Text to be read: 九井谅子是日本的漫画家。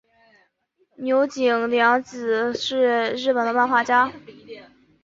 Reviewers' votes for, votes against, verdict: 2, 0, accepted